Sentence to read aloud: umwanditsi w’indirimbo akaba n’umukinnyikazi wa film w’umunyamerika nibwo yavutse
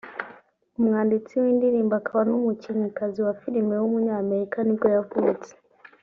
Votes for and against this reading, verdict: 1, 2, rejected